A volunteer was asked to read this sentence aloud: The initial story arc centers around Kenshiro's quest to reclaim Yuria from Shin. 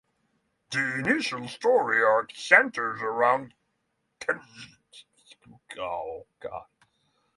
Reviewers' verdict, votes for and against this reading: rejected, 0, 3